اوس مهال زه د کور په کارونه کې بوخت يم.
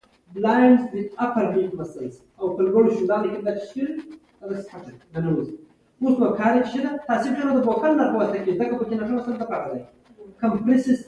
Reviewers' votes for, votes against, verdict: 0, 2, rejected